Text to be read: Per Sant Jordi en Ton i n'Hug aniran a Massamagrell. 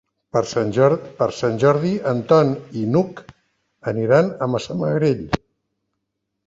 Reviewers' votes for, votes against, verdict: 1, 3, rejected